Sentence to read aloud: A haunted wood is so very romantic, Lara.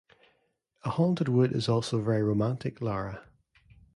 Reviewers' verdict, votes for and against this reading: rejected, 2, 3